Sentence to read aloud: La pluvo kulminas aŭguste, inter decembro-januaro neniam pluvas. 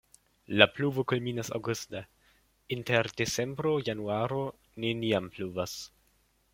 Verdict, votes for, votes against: rejected, 0, 2